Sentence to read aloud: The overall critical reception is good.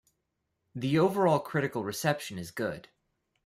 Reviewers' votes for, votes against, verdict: 1, 2, rejected